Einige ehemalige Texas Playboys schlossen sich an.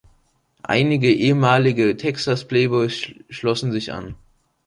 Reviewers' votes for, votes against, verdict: 2, 1, accepted